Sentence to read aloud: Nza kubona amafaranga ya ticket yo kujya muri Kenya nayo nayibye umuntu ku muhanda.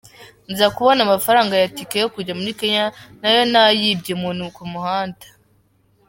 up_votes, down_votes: 2, 1